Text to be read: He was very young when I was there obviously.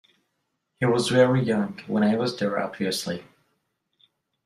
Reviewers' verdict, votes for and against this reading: rejected, 0, 2